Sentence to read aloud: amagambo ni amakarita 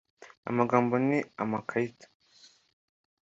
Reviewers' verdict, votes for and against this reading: accepted, 2, 1